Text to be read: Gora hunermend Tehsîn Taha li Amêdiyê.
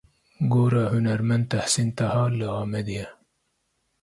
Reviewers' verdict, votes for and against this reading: rejected, 1, 2